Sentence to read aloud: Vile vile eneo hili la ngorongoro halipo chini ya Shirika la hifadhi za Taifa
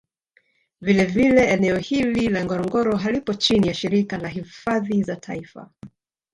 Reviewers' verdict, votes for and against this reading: rejected, 1, 2